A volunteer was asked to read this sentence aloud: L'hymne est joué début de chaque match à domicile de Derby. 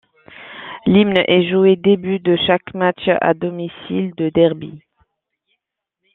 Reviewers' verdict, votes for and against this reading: accepted, 2, 0